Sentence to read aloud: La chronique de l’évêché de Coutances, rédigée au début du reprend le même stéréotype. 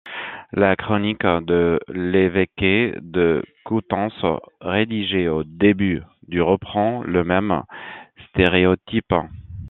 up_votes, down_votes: 0, 2